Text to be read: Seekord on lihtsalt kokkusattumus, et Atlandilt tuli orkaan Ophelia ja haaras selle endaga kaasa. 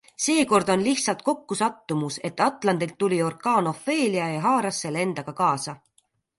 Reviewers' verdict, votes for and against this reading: accepted, 2, 0